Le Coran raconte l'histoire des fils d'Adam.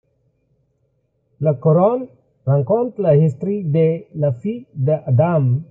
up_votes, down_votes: 0, 2